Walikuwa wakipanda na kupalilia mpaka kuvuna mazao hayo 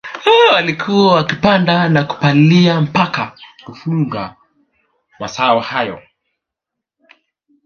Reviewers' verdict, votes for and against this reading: rejected, 1, 2